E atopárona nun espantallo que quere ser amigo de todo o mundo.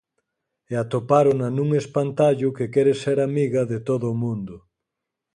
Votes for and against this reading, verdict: 2, 4, rejected